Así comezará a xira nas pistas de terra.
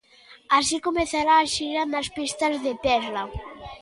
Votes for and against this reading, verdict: 3, 0, accepted